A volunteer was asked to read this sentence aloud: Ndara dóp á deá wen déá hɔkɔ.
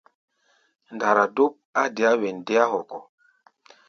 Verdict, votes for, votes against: accepted, 2, 0